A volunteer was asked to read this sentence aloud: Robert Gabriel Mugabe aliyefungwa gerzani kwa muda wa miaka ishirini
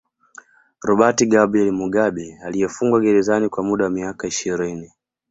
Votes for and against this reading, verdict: 2, 1, accepted